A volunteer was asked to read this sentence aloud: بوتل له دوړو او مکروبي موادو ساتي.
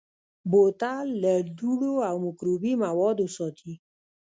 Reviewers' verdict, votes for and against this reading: rejected, 0, 2